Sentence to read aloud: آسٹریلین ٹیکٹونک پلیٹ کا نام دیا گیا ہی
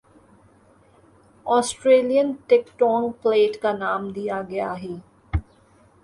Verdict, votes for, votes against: accepted, 3, 2